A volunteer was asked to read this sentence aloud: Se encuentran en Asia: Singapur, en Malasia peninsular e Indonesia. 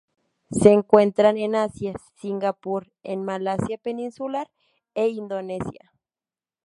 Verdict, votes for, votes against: rejected, 0, 2